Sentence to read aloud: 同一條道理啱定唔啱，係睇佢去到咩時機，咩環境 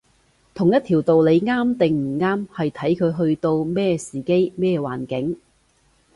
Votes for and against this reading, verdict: 2, 0, accepted